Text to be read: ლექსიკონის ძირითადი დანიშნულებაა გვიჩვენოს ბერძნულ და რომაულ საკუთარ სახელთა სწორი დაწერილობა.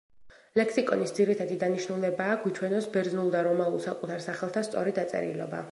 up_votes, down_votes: 1, 2